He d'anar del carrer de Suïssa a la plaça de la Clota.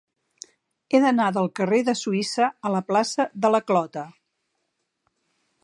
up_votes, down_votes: 4, 0